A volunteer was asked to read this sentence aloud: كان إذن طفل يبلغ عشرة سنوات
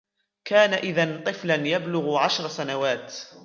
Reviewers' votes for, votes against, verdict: 3, 0, accepted